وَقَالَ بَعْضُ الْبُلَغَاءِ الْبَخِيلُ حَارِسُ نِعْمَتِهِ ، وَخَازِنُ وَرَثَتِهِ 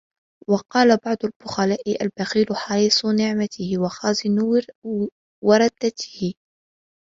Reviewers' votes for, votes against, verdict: 0, 2, rejected